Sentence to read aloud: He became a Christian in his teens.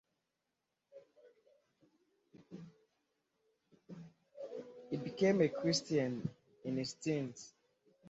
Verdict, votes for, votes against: rejected, 1, 2